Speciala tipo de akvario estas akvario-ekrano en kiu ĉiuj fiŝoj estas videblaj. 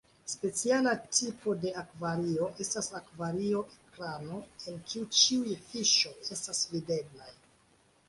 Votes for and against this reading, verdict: 2, 0, accepted